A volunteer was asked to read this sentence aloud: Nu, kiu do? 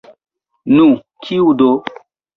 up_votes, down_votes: 2, 0